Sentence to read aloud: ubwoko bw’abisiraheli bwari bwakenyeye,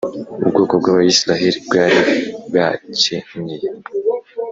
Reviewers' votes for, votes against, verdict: 3, 0, accepted